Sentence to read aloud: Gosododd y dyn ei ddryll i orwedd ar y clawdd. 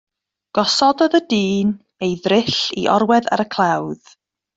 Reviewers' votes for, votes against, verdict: 2, 0, accepted